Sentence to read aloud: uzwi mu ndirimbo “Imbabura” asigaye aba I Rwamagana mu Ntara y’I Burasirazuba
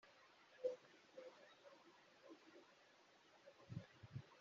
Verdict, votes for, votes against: rejected, 0, 2